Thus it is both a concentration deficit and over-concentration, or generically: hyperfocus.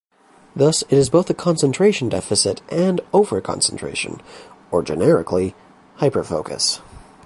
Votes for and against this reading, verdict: 2, 0, accepted